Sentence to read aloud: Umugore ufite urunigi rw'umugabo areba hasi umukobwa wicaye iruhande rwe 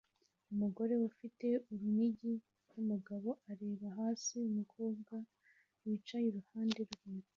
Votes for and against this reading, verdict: 2, 0, accepted